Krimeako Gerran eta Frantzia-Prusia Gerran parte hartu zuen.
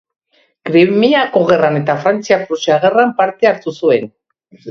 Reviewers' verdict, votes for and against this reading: rejected, 1, 2